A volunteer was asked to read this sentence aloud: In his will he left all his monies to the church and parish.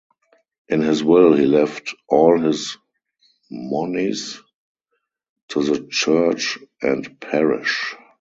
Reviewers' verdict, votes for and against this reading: rejected, 2, 2